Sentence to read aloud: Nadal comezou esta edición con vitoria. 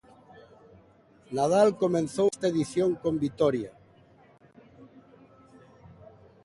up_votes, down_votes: 2, 1